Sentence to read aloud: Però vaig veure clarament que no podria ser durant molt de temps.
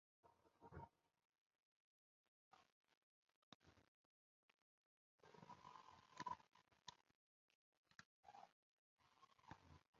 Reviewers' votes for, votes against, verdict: 0, 3, rejected